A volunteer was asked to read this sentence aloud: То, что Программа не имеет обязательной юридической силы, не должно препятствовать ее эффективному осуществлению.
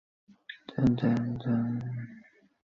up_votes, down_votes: 0, 2